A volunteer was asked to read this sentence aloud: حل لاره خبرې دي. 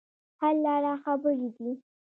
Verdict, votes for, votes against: accepted, 2, 1